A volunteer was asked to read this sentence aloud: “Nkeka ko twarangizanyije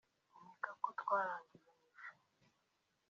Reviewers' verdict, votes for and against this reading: rejected, 1, 2